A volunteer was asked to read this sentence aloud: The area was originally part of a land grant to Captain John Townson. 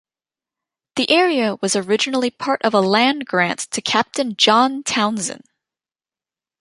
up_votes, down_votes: 1, 2